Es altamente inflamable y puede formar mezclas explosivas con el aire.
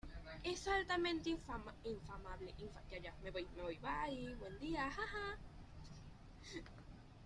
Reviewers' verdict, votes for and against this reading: rejected, 0, 2